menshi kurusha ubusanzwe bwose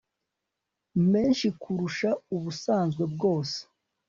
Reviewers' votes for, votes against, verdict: 3, 0, accepted